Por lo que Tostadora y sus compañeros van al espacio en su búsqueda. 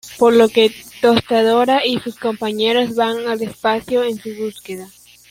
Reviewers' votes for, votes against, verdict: 2, 1, accepted